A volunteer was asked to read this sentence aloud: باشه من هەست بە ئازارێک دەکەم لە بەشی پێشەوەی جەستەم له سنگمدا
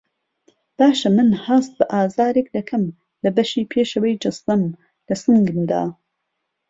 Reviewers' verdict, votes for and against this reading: accepted, 2, 0